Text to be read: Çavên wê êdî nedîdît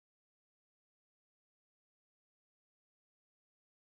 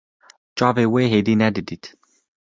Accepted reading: second